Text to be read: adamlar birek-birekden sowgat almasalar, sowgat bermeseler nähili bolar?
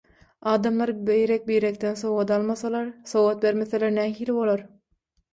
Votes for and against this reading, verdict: 3, 3, rejected